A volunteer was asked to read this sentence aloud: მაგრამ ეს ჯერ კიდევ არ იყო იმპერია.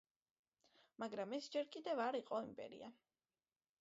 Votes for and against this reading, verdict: 2, 1, accepted